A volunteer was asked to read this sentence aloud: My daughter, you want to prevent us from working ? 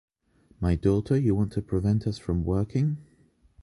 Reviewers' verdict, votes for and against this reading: accepted, 2, 0